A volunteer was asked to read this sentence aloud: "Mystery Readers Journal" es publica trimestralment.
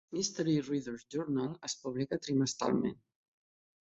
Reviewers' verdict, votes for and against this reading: accepted, 3, 0